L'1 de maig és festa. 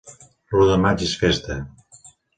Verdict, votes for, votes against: rejected, 0, 2